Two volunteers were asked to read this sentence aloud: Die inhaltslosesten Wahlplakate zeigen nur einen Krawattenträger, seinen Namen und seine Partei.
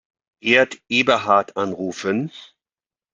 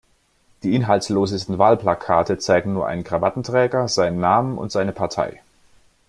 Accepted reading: second